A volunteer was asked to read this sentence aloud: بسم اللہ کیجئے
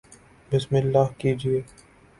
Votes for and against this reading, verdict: 1, 2, rejected